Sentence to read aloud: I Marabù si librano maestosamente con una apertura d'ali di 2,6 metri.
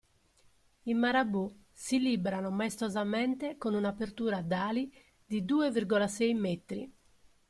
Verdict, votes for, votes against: rejected, 0, 2